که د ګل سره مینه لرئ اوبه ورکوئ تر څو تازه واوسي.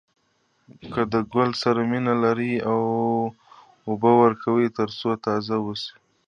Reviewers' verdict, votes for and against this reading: accepted, 2, 0